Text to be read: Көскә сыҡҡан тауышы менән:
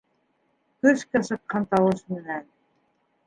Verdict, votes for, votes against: rejected, 0, 2